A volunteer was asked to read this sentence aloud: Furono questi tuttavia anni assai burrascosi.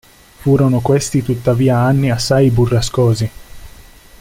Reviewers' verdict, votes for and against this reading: accepted, 2, 0